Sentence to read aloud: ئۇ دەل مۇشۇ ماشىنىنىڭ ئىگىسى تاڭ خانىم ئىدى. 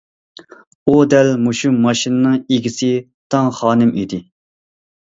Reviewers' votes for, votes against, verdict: 2, 0, accepted